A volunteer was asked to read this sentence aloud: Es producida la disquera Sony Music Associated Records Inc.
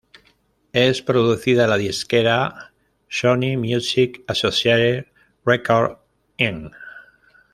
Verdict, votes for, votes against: rejected, 1, 2